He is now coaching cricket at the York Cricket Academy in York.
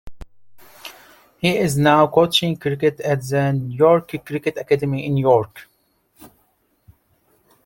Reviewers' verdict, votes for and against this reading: accepted, 2, 0